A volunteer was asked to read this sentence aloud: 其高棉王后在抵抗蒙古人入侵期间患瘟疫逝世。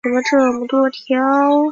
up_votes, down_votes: 0, 2